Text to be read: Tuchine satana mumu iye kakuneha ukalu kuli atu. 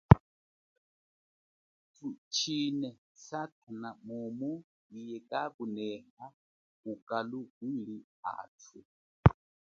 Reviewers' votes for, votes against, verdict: 1, 2, rejected